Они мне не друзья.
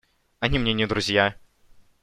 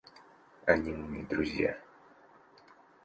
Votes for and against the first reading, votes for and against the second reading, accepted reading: 2, 0, 1, 2, first